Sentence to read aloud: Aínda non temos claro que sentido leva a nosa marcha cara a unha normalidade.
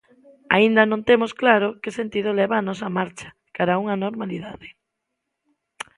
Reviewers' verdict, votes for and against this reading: accepted, 2, 0